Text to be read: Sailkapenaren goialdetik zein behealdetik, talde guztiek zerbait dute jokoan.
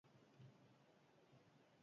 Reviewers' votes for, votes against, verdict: 0, 4, rejected